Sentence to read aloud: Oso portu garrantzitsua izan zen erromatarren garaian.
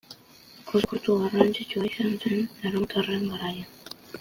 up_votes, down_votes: 2, 1